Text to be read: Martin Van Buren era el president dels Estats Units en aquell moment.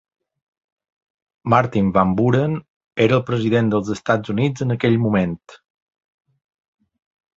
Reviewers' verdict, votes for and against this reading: accepted, 2, 0